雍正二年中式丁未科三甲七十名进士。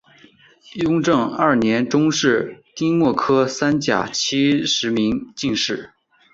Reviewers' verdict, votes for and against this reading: accepted, 2, 0